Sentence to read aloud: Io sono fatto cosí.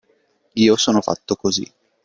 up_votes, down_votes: 2, 0